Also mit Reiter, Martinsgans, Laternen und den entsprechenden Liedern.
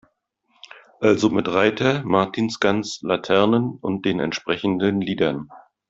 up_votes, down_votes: 2, 0